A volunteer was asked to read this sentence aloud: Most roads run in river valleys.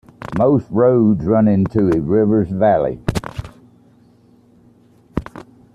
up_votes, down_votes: 0, 2